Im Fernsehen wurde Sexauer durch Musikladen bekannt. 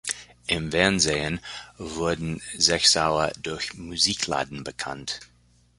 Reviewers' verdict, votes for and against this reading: rejected, 1, 2